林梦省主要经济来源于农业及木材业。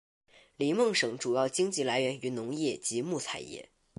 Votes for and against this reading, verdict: 2, 0, accepted